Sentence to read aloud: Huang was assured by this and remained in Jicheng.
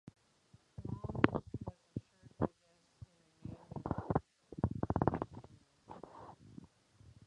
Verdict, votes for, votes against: rejected, 0, 4